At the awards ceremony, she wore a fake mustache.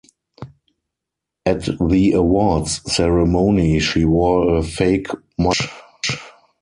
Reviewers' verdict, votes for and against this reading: rejected, 0, 4